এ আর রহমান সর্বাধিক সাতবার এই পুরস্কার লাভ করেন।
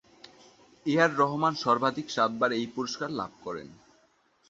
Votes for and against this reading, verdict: 0, 2, rejected